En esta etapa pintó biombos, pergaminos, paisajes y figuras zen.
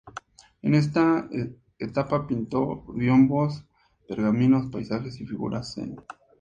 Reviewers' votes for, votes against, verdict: 2, 0, accepted